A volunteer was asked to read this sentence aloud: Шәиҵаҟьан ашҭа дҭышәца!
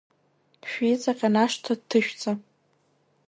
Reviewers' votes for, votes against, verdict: 2, 0, accepted